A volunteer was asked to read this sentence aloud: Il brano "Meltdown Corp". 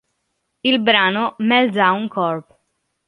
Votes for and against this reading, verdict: 2, 0, accepted